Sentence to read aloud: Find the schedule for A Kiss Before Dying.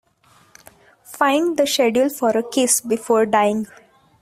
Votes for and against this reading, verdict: 1, 2, rejected